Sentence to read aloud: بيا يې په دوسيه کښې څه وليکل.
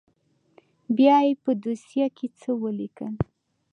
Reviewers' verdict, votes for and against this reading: rejected, 1, 2